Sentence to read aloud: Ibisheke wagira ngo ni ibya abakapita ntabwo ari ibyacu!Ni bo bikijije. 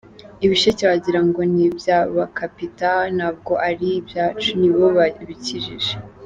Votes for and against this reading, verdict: 1, 2, rejected